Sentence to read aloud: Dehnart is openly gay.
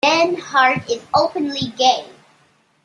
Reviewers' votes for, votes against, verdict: 2, 1, accepted